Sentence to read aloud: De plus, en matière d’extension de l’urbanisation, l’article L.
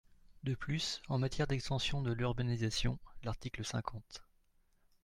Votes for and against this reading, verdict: 1, 2, rejected